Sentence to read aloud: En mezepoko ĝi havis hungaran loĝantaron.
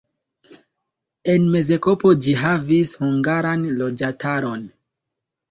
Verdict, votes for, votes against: rejected, 0, 2